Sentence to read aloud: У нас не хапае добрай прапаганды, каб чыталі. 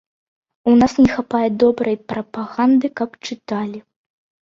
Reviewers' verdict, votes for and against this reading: accepted, 2, 0